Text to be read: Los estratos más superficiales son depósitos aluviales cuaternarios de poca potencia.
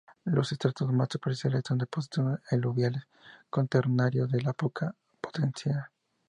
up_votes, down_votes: 0, 2